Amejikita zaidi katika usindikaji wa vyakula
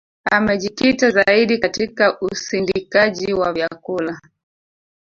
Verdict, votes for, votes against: rejected, 2, 3